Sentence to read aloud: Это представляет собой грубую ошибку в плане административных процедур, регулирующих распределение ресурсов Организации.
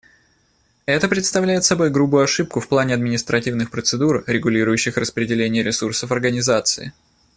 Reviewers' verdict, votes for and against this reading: accepted, 2, 0